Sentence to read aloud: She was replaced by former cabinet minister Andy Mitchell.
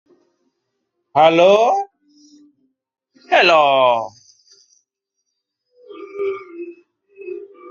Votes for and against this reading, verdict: 0, 2, rejected